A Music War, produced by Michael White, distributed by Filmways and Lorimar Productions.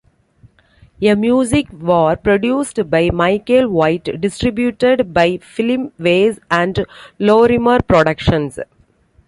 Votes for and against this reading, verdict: 2, 1, accepted